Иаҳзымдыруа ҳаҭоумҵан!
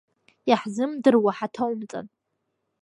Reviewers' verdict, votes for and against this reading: accepted, 2, 0